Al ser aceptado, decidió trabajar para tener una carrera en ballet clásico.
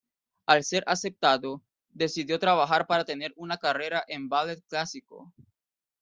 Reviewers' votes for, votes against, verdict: 2, 1, accepted